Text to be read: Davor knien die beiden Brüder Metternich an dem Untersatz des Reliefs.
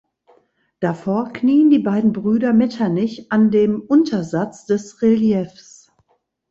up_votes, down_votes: 2, 0